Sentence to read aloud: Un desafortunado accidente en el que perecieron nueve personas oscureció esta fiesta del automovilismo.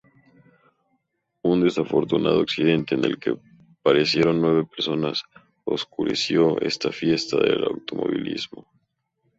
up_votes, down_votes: 0, 2